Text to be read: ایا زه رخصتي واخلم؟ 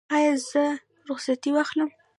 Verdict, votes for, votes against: accepted, 2, 1